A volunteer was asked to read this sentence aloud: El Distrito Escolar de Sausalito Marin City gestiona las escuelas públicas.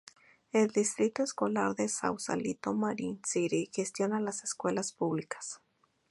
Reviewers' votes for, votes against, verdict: 0, 2, rejected